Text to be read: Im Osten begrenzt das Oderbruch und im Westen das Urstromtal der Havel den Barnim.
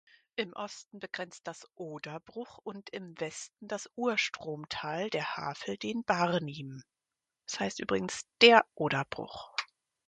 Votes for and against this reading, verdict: 0, 4, rejected